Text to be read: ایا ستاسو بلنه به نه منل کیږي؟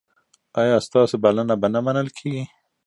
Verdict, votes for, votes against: accepted, 2, 0